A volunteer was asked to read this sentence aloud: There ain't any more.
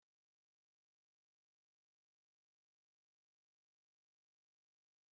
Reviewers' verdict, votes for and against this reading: rejected, 0, 2